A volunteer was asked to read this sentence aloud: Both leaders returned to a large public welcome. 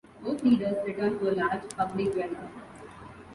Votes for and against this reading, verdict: 2, 0, accepted